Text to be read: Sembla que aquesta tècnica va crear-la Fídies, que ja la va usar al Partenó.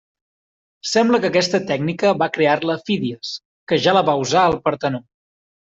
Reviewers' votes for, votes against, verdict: 2, 0, accepted